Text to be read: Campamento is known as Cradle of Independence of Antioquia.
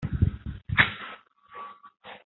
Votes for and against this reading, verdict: 0, 2, rejected